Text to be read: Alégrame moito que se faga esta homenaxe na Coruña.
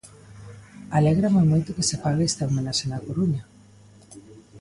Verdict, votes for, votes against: rejected, 1, 2